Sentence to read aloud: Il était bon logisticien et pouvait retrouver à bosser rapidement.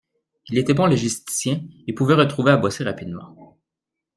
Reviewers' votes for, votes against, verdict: 2, 0, accepted